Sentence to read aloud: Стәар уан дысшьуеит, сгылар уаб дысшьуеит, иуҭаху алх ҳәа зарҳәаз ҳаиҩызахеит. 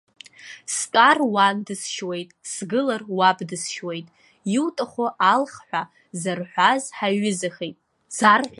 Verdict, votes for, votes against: rejected, 1, 2